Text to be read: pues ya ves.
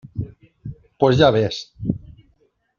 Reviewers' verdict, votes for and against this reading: accepted, 2, 0